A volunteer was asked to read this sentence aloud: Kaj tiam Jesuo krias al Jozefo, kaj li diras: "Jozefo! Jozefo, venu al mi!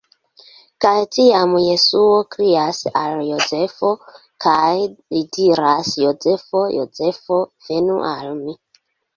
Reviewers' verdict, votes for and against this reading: accepted, 2, 1